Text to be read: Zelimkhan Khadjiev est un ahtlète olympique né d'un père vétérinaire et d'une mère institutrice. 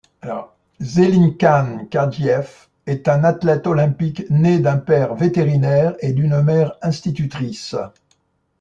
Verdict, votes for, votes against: rejected, 1, 2